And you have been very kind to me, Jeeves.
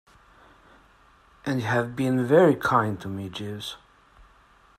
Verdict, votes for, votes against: rejected, 0, 2